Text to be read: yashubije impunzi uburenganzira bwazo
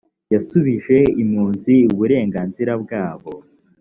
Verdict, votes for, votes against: rejected, 2, 3